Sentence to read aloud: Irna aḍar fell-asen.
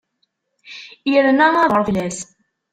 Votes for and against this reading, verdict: 0, 2, rejected